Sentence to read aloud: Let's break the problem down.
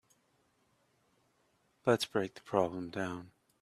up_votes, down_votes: 2, 0